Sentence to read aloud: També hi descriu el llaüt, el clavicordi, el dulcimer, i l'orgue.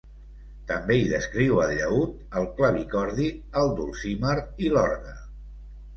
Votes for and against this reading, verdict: 2, 0, accepted